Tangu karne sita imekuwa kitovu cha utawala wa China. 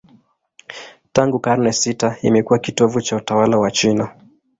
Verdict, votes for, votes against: accepted, 2, 0